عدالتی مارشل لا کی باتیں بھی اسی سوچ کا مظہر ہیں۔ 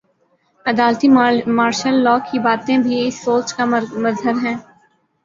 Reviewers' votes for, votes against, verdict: 0, 2, rejected